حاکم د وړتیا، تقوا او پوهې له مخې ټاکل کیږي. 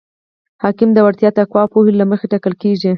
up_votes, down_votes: 4, 0